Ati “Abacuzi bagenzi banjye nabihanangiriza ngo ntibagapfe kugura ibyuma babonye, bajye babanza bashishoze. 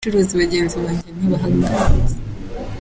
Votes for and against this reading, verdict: 0, 2, rejected